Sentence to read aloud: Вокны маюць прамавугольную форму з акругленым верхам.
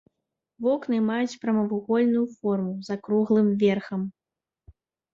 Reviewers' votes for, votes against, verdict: 0, 2, rejected